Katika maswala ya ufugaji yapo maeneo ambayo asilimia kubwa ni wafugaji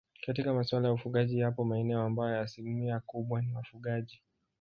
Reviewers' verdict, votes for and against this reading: accepted, 3, 1